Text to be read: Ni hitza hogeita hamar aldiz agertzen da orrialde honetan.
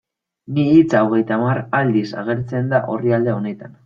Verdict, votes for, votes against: accepted, 2, 1